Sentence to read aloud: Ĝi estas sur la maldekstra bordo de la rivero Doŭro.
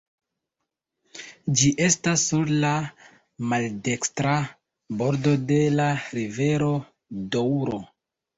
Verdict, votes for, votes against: accepted, 2, 1